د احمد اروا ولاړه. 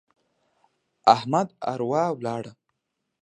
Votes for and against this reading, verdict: 1, 2, rejected